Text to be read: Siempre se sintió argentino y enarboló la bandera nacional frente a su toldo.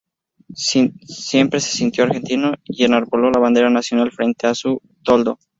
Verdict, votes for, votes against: rejected, 0, 2